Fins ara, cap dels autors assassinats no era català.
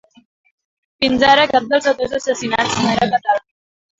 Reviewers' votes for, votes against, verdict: 1, 2, rejected